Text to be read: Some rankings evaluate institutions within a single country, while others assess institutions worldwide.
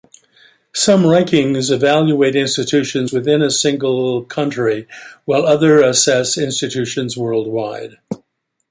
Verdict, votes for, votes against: rejected, 1, 2